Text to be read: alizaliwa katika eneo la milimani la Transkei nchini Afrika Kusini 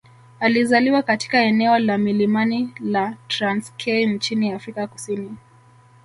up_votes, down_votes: 2, 0